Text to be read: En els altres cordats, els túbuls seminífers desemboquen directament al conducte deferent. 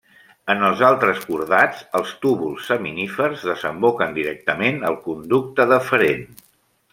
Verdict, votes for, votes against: accepted, 2, 0